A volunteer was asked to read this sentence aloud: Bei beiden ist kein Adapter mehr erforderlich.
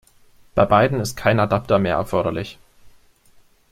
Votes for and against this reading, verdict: 2, 0, accepted